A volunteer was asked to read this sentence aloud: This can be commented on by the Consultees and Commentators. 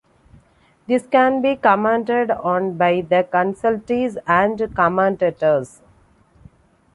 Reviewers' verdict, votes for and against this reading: accepted, 2, 0